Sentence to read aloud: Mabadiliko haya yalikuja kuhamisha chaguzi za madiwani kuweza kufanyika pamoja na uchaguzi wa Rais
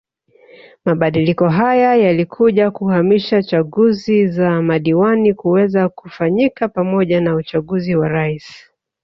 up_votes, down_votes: 2, 0